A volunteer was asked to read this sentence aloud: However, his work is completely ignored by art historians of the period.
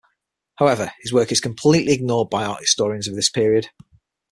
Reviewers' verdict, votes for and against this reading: rejected, 3, 6